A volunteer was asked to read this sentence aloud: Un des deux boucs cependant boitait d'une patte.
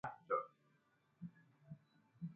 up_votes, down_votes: 1, 2